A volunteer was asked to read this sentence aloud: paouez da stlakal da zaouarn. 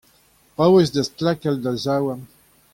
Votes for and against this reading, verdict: 2, 0, accepted